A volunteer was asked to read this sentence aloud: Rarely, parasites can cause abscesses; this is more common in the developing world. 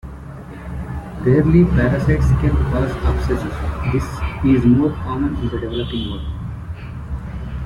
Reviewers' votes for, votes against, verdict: 0, 2, rejected